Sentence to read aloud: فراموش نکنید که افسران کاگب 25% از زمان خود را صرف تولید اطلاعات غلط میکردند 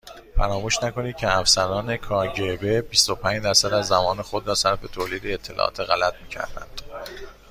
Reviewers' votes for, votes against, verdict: 0, 2, rejected